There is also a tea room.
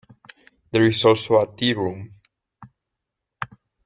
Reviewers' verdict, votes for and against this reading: rejected, 1, 2